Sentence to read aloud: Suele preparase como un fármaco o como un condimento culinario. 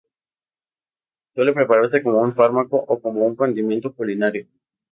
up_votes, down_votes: 0, 2